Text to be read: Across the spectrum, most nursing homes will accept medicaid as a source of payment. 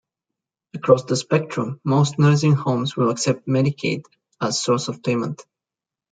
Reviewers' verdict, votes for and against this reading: rejected, 1, 2